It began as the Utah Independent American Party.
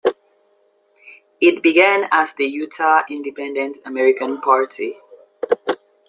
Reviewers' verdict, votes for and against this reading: accepted, 2, 0